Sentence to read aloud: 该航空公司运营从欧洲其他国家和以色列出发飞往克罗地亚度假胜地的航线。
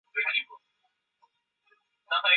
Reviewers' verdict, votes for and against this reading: rejected, 0, 3